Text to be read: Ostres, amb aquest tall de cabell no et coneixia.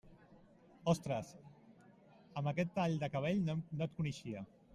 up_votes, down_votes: 0, 2